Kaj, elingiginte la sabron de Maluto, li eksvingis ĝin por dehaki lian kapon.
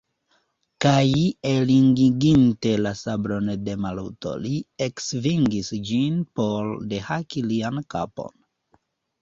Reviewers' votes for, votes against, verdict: 1, 2, rejected